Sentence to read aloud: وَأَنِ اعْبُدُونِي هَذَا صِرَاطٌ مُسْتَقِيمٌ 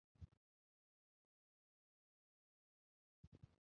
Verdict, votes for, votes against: accepted, 2, 0